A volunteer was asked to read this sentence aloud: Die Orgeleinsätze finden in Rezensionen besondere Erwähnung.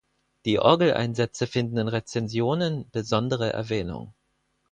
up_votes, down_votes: 4, 0